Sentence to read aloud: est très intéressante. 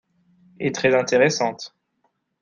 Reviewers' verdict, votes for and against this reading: accepted, 2, 1